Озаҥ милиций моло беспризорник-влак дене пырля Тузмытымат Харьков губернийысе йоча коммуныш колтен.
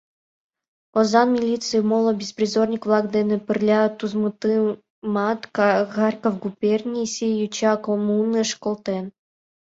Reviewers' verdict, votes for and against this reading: accepted, 2, 1